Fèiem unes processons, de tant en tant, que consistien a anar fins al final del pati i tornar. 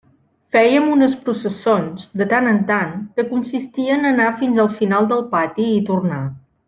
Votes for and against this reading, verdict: 2, 0, accepted